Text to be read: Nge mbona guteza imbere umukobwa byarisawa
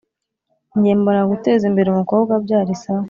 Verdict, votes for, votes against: accepted, 2, 0